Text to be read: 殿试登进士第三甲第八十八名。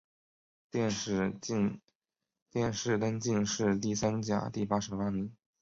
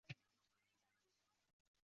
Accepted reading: first